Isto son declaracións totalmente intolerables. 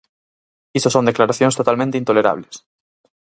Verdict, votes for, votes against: rejected, 0, 4